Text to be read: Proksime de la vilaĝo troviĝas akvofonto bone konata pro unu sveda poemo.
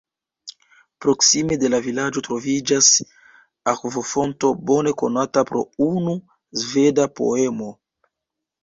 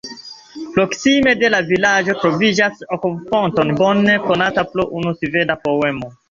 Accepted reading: second